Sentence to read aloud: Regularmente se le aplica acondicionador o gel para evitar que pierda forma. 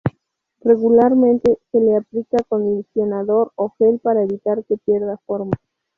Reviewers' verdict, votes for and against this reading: accepted, 2, 0